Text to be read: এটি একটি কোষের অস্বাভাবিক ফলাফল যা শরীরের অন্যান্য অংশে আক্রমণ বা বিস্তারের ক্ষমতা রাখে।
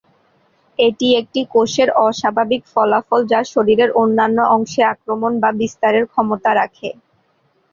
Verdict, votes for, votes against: accepted, 2, 0